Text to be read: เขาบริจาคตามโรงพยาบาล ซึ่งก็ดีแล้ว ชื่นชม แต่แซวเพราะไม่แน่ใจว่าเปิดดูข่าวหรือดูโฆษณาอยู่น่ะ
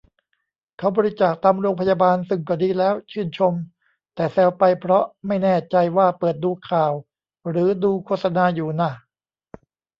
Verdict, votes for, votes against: rejected, 1, 2